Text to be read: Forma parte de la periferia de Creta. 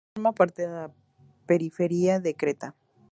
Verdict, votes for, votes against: rejected, 0, 4